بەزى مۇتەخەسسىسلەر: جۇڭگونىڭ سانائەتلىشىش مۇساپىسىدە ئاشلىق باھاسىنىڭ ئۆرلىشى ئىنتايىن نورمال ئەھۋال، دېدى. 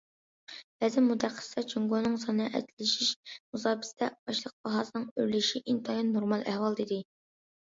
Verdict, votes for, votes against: accepted, 2, 0